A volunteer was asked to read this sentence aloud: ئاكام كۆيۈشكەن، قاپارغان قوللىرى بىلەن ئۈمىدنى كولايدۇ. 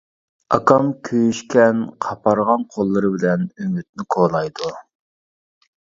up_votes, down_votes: 2, 0